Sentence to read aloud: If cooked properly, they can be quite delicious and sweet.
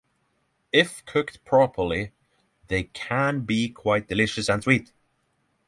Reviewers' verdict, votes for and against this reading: accepted, 6, 0